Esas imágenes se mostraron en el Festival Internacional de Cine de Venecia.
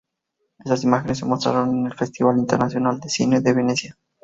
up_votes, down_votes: 2, 0